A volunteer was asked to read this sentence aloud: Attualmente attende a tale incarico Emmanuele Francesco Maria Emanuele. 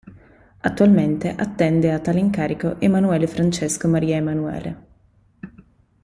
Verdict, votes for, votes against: accepted, 2, 0